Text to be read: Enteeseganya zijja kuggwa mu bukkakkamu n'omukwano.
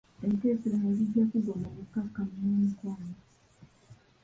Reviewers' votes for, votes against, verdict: 0, 2, rejected